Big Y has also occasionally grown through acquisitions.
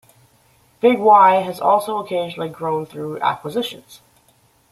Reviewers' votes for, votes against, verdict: 2, 0, accepted